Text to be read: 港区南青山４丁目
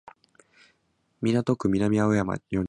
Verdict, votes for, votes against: rejected, 0, 2